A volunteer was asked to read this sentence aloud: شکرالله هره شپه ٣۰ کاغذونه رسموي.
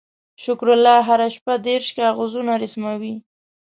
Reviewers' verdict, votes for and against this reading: rejected, 0, 2